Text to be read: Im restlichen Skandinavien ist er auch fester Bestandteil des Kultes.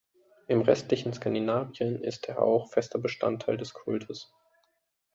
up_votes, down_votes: 2, 0